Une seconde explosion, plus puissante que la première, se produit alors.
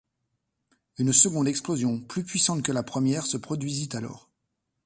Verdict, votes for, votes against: rejected, 1, 2